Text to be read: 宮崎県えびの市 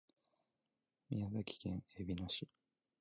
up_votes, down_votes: 2, 0